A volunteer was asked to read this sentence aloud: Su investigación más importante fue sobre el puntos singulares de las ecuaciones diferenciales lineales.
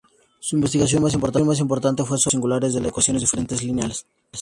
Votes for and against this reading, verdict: 2, 2, rejected